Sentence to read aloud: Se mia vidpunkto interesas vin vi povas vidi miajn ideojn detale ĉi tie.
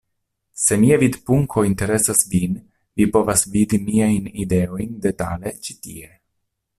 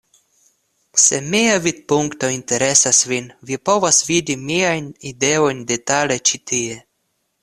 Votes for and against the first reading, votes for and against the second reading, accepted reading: 1, 2, 2, 0, second